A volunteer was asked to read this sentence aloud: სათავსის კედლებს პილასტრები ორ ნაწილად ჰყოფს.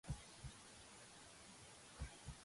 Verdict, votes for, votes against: rejected, 0, 2